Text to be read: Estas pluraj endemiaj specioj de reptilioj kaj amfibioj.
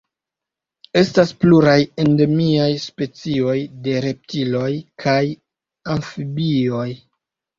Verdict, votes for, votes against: rejected, 1, 2